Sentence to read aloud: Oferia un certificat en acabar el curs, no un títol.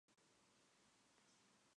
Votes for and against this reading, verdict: 1, 3, rejected